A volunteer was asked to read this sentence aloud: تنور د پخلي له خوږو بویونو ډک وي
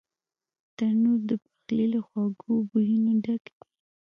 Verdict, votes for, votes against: rejected, 0, 2